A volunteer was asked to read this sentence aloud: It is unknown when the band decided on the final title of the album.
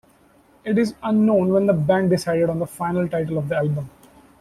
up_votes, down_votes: 2, 0